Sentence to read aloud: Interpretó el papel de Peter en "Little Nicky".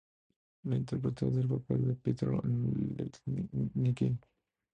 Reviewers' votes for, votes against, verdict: 0, 2, rejected